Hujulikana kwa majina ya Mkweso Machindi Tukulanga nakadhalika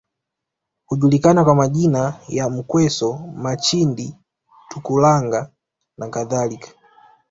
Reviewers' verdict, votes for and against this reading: accepted, 2, 1